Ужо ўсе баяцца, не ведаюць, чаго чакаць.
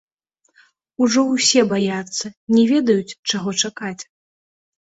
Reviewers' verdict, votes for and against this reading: accepted, 2, 0